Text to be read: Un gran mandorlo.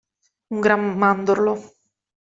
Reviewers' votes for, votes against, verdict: 2, 0, accepted